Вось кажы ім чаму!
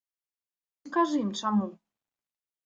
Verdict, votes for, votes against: rejected, 0, 2